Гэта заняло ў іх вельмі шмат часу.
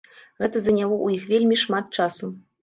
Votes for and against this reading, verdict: 1, 2, rejected